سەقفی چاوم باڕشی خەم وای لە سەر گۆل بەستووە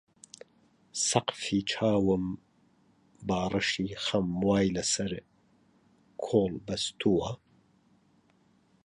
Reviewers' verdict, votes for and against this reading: rejected, 0, 2